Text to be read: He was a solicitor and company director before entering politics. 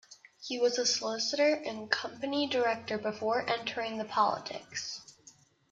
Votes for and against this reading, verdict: 0, 2, rejected